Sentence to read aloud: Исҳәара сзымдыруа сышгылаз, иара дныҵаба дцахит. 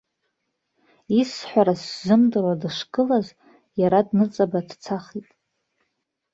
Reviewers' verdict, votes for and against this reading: rejected, 1, 2